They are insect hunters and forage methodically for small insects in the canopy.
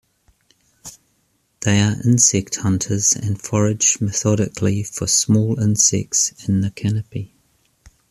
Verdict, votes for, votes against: accepted, 2, 0